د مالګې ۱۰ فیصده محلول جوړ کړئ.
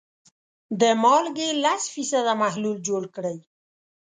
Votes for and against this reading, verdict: 0, 2, rejected